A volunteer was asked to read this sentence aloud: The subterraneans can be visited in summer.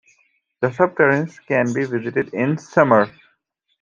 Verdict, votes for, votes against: accepted, 2, 0